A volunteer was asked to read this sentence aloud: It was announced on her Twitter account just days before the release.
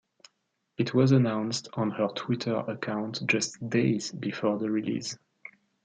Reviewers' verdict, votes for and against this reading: accepted, 2, 0